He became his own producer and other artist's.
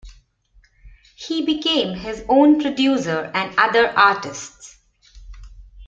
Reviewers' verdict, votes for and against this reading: accepted, 2, 0